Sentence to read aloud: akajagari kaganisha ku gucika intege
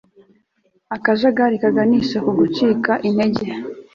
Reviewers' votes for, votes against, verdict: 2, 0, accepted